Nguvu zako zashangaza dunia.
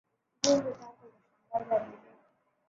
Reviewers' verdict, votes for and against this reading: rejected, 0, 2